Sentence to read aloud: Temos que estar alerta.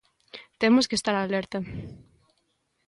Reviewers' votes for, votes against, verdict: 2, 0, accepted